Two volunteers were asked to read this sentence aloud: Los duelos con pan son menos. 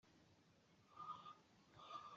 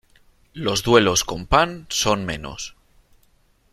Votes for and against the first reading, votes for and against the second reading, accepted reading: 0, 2, 2, 0, second